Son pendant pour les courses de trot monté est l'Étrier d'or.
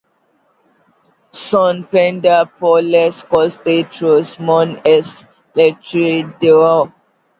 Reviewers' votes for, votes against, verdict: 1, 2, rejected